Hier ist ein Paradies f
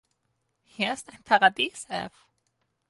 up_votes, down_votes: 0, 4